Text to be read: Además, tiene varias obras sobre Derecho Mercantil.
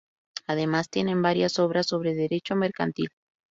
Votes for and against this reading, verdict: 0, 2, rejected